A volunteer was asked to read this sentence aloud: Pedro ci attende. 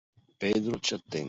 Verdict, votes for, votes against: rejected, 0, 2